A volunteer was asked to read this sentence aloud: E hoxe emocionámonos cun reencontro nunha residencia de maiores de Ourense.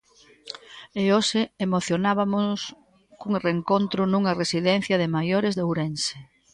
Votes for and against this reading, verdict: 1, 2, rejected